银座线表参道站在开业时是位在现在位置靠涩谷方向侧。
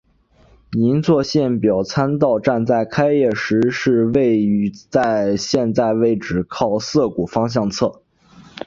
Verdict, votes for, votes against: accepted, 4, 3